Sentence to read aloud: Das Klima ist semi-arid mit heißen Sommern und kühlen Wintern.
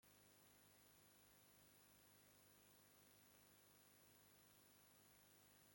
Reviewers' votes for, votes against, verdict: 0, 2, rejected